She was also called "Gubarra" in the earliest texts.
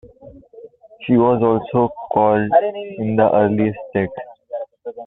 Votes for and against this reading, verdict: 2, 1, accepted